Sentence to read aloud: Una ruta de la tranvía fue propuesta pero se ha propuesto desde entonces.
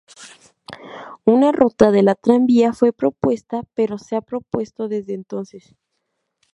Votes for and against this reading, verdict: 0, 2, rejected